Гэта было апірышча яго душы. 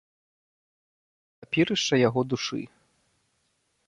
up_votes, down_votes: 0, 2